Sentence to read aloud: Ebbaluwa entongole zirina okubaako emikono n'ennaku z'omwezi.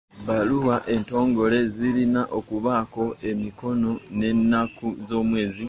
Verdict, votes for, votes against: accepted, 2, 0